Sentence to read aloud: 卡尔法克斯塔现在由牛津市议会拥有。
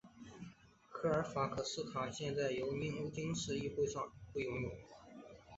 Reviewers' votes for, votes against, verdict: 1, 2, rejected